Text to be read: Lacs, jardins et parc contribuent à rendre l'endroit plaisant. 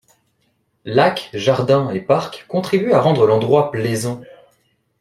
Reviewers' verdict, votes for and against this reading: accepted, 2, 0